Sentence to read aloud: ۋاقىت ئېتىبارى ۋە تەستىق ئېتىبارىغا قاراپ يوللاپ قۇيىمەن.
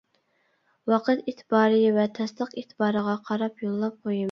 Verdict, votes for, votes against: rejected, 0, 2